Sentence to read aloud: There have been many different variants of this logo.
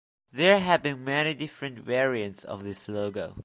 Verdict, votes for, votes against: accepted, 2, 1